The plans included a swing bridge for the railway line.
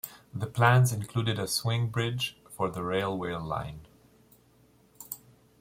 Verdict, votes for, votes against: accepted, 2, 0